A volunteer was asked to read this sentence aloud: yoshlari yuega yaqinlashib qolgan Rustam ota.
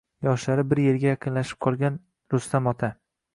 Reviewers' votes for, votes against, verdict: 2, 1, accepted